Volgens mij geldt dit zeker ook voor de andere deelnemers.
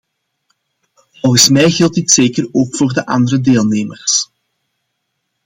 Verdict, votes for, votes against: accepted, 2, 0